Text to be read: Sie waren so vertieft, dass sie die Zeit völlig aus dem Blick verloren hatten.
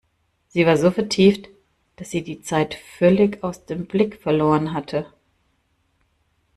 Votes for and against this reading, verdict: 0, 2, rejected